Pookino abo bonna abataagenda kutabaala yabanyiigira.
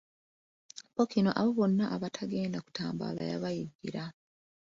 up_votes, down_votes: 1, 2